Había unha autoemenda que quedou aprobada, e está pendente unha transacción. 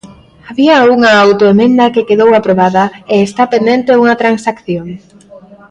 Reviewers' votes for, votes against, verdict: 2, 0, accepted